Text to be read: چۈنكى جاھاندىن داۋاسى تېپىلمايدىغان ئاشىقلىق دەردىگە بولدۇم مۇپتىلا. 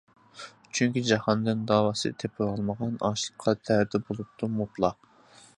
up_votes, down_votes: 0, 2